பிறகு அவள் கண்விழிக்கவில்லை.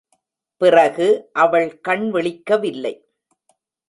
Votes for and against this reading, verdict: 2, 0, accepted